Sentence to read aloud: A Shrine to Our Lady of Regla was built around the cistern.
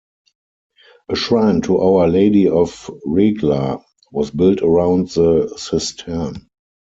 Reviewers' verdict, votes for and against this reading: accepted, 4, 0